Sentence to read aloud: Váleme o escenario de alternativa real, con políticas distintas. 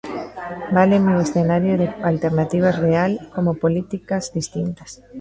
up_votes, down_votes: 1, 2